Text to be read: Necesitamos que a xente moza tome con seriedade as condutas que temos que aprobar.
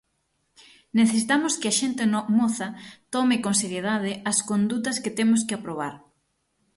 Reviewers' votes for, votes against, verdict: 0, 6, rejected